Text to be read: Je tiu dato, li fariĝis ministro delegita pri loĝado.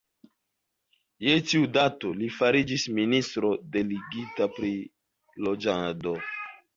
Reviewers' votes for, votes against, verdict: 0, 2, rejected